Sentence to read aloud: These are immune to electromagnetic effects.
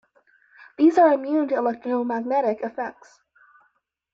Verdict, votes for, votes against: accepted, 2, 0